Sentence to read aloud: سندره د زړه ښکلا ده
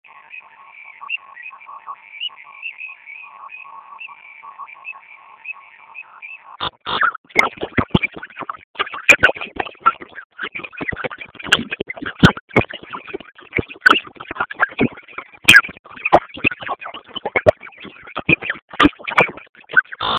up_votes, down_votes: 0, 2